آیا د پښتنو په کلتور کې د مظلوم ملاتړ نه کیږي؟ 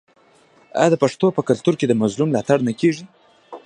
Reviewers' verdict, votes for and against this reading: rejected, 1, 2